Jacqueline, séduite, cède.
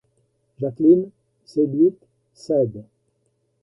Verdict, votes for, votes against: rejected, 1, 2